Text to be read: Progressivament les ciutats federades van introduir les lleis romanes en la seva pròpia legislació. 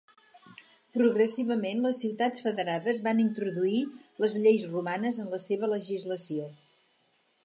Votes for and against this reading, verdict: 0, 4, rejected